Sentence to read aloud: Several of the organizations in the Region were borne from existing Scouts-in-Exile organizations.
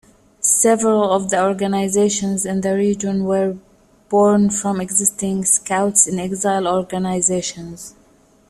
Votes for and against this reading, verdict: 2, 0, accepted